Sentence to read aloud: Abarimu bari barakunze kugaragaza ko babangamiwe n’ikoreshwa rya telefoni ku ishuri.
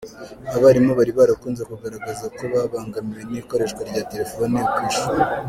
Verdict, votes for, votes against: accepted, 2, 1